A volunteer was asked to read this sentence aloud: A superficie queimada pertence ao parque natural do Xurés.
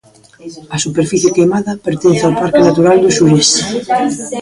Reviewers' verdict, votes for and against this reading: rejected, 1, 2